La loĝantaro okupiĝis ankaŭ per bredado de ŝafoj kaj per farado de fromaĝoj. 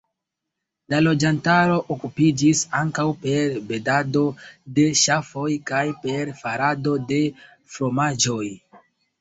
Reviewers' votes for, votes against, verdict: 0, 2, rejected